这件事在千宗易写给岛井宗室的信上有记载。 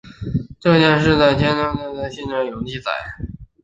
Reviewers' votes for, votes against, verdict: 1, 2, rejected